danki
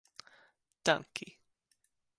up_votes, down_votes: 2, 0